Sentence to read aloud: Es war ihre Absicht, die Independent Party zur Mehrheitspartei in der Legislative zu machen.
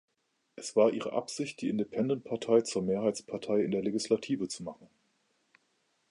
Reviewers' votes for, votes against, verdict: 2, 3, rejected